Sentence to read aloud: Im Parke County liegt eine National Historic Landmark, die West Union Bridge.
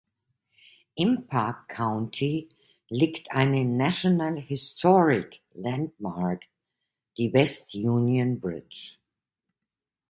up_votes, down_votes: 2, 0